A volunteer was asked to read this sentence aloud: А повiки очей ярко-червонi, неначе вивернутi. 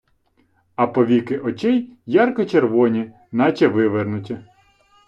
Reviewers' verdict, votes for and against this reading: rejected, 1, 2